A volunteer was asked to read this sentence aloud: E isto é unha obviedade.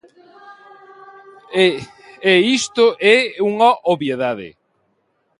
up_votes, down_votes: 0, 2